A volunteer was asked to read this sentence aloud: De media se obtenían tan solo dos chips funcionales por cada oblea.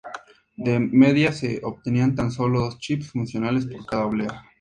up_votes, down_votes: 2, 0